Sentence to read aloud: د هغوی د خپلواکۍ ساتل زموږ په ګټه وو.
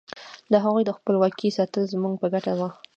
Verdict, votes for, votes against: rejected, 1, 2